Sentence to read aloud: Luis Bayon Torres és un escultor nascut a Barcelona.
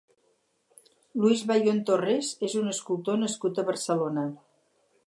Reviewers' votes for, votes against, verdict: 2, 2, rejected